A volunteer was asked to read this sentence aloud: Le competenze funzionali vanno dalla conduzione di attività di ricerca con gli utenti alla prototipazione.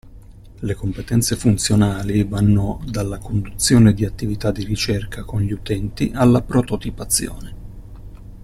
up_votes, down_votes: 2, 0